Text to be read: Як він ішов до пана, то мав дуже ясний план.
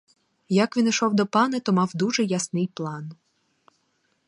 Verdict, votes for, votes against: rejected, 2, 2